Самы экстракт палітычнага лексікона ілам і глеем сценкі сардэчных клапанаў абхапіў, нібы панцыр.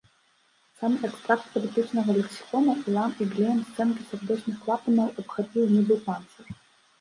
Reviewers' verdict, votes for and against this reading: rejected, 0, 2